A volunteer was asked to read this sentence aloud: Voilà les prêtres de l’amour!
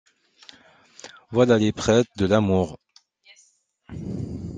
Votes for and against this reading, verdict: 0, 2, rejected